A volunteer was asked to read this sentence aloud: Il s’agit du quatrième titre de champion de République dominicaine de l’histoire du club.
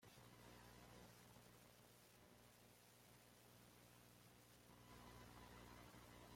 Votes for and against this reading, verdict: 1, 2, rejected